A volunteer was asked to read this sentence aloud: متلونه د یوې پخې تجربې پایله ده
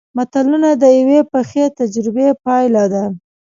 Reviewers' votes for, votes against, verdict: 2, 0, accepted